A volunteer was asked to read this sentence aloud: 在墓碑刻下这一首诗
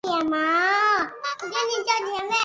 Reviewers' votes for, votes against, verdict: 0, 4, rejected